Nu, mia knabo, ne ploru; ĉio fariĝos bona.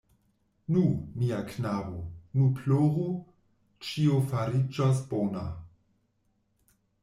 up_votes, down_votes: 1, 2